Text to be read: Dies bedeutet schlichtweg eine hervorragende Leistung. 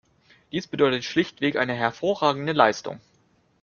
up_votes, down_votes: 2, 0